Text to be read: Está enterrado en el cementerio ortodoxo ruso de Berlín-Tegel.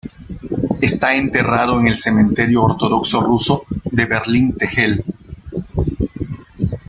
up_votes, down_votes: 2, 0